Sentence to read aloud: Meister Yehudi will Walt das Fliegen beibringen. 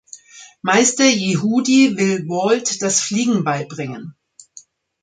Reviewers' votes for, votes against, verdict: 2, 0, accepted